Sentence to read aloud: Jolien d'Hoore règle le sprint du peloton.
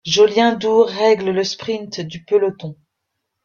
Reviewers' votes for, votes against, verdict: 0, 2, rejected